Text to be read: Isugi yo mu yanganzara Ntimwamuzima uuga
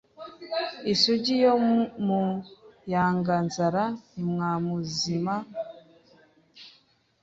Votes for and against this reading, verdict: 0, 2, rejected